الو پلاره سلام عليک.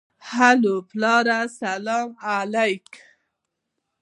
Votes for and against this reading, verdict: 1, 2, rejected